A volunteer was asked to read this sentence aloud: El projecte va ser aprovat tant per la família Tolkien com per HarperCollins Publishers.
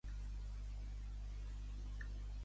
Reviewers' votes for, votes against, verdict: 0, 2, rejected